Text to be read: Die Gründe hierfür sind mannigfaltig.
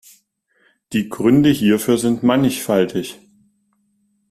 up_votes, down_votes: 2, 0